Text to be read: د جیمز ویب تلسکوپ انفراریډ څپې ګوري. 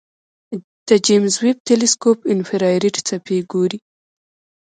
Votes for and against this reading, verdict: 0, 2, rejected